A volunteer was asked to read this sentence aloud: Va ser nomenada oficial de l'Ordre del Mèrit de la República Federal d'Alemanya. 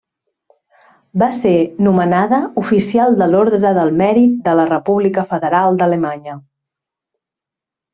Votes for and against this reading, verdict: 2, 0, accepted